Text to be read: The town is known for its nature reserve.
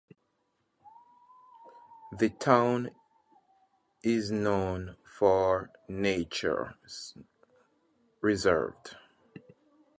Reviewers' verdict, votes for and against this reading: rejected, 0, 2